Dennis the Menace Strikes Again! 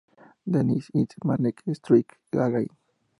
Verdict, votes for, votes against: rejected, 0, 2